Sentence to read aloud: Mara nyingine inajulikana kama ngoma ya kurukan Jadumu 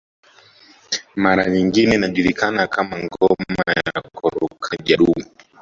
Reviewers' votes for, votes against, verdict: 1, 2, rejected